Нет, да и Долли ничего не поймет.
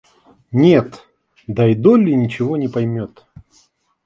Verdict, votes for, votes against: accepted, 2, 0